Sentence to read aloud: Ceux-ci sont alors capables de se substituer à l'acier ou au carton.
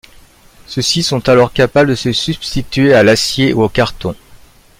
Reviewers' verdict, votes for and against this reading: accepted, 2, 0